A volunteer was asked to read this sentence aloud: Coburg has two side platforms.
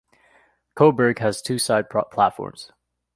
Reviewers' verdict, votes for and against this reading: rejected, 0, 2